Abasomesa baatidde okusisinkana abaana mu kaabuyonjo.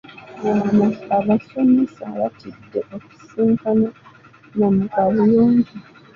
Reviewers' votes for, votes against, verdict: 2, 1, accepted